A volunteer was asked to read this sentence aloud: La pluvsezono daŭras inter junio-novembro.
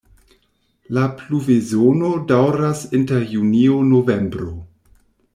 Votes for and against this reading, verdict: 1, 2, rejected